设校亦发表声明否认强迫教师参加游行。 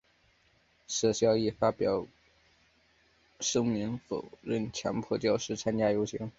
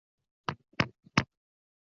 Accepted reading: first